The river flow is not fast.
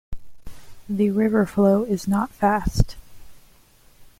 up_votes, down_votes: 2, 0